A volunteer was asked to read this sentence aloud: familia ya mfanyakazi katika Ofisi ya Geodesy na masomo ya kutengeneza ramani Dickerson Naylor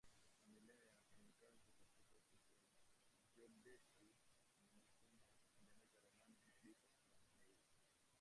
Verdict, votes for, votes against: rejected, 0, 2